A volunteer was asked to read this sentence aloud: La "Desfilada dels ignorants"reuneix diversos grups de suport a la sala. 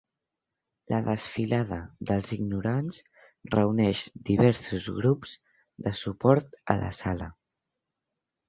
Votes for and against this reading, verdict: 2, 0, accepted